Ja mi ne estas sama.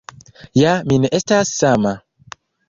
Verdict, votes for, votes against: accepted, 2, 0